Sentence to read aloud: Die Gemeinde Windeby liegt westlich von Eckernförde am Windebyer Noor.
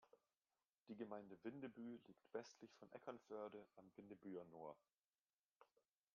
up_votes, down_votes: 1, 2